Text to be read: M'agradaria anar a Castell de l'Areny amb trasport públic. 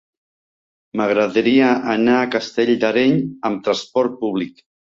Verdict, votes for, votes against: rejected, 1, 2